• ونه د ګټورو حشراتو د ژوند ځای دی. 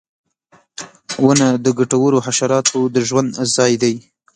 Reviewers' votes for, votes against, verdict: 2, 1, accepted